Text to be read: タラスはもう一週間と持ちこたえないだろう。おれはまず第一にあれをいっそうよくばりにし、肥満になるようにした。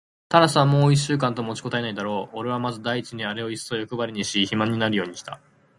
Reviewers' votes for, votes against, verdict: 0, 4, rejected